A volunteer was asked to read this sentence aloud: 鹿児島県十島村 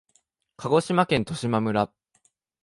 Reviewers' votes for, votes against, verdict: 2, 0, accepted